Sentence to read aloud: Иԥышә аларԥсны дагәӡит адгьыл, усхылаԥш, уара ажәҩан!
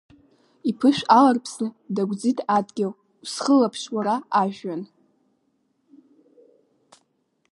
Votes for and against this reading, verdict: 2, 1, accepted